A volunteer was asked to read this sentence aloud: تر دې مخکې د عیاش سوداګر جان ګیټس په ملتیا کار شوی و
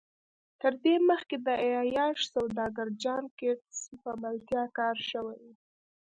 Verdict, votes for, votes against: accepted, 2, 0